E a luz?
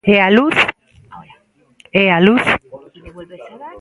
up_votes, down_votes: 0, 2